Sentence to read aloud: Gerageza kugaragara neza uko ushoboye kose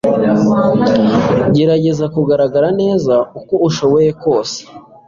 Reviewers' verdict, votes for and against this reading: accepted, 2, 0